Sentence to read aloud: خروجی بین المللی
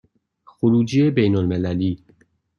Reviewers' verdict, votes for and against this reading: accepted, 2, 0